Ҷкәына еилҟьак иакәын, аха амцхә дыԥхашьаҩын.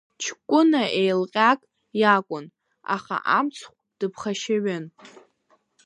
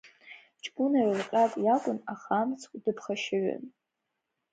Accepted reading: second